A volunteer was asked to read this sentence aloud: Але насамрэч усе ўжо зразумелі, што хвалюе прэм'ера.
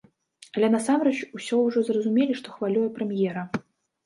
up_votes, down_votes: 1, 2